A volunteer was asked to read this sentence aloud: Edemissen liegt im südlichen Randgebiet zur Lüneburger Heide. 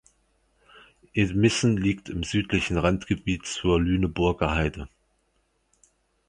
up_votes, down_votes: 2, 0